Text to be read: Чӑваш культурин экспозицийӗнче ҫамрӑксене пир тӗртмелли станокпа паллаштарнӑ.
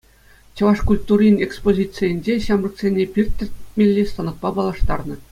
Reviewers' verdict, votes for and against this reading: accepted, 2, 0